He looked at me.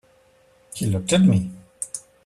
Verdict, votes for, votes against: rejected, 1, 2